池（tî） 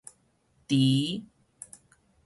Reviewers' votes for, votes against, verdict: 4, 0, accepted